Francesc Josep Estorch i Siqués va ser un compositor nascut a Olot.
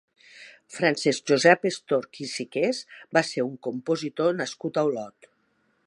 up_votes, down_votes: 2, 0